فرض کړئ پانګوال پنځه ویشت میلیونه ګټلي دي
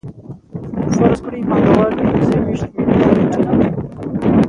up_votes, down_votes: 0, 2